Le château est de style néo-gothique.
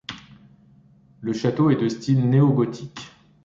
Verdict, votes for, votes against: accepted, 2, 0